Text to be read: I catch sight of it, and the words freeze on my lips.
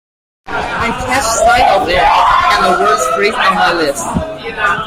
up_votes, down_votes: 1, 2